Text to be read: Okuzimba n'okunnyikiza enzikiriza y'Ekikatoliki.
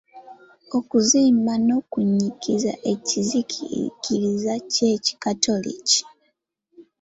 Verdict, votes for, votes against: rejected, 0, 2